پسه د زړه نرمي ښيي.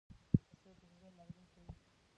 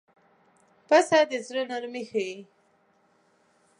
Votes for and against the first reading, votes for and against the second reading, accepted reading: 0, 2, 3, 0, second